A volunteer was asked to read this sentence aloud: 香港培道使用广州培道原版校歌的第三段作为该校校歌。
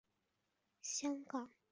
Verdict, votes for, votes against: rejected, 0, 2